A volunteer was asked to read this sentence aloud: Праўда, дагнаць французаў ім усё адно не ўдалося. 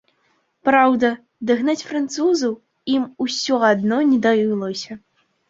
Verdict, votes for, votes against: rejected, 0, 2